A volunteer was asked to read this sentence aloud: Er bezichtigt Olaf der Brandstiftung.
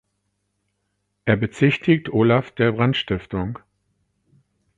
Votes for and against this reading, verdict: 4, 0, accepted